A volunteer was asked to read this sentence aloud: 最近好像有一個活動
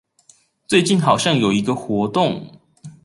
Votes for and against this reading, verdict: 2, 0, accepted